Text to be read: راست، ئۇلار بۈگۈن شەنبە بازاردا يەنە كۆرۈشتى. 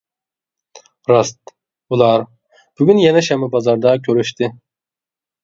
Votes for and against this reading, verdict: 0, 2, rejected